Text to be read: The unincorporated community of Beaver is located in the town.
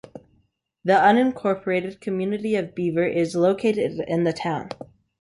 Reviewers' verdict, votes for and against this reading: accepted, 2, 0